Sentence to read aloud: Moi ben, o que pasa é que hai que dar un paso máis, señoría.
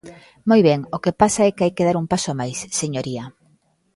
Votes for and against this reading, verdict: 1, 2, rejected